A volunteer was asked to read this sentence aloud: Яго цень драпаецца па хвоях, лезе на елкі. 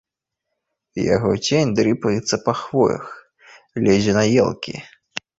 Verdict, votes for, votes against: rejected, 0, 2